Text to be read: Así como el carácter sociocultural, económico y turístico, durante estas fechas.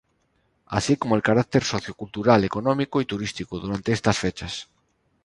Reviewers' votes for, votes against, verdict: 2, 0, accepted